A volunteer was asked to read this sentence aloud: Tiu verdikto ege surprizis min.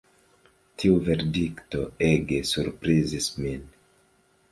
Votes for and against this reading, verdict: 1, 2, rejected